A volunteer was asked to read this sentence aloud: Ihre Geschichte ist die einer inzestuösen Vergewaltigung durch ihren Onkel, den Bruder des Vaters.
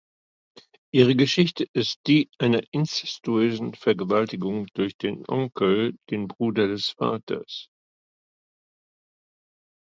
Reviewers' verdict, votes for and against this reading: rejected, 1, 2